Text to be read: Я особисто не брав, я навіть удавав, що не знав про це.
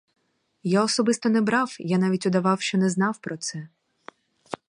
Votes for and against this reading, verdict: 4, 0, accepted